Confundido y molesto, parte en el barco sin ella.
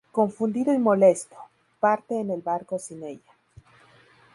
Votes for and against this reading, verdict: 2, 0, accepted